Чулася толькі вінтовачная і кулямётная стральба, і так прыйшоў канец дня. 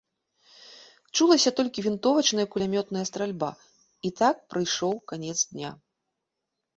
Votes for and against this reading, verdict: 2, 0, accepted